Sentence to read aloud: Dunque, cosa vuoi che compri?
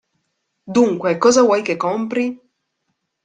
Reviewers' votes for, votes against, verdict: 2, 0, accepted